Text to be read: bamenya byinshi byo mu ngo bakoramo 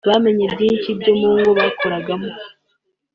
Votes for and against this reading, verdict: 2, 3, rejected